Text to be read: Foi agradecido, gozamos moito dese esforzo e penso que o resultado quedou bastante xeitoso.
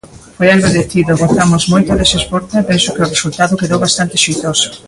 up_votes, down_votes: 2, 1